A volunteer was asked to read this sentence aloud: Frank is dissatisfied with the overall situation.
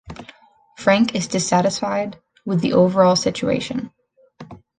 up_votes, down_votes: 2, 0